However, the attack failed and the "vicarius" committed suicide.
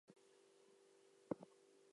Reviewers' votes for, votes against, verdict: 0, 2, rejected